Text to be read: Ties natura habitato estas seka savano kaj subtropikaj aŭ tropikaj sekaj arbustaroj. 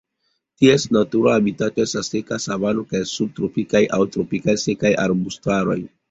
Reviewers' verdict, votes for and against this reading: rejected, 1, 2